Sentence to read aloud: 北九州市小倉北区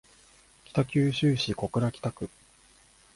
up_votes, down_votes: 2, 0